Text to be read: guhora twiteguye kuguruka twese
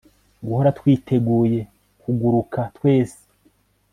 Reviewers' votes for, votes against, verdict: 2, 0, accepted